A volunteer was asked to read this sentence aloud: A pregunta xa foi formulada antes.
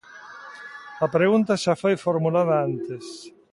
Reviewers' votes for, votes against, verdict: 2, 0, accepted